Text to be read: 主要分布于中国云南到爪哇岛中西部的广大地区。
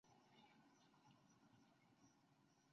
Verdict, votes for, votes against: rejected, 0, 2